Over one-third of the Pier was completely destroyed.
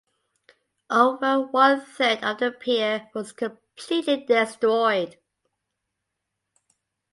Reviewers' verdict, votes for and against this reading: accepted, 2, 1